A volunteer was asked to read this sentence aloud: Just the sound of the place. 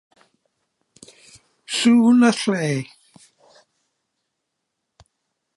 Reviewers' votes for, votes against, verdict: 0, 2, rejected